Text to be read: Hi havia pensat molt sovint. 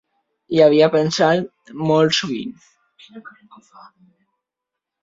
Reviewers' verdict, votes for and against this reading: accepted, 3, 0